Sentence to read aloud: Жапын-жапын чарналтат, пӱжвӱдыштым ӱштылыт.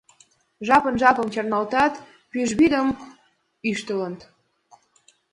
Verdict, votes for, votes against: rejected, 1, 2